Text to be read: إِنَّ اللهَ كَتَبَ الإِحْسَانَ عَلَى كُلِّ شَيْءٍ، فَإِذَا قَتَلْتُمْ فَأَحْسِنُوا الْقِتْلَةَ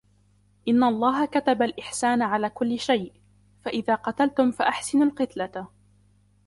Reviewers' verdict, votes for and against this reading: rejected, 0, 2